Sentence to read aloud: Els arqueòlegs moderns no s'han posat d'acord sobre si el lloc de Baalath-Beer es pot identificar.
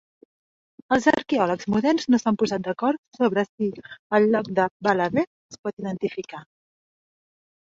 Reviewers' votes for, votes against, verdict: 1, 2, rejected